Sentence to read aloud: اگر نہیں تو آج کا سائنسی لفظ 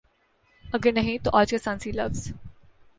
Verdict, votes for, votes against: accepted, 2, 0